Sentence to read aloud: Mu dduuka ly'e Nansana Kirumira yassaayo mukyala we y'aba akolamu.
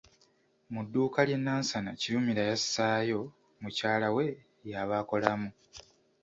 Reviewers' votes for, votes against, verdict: 2, 0, accepted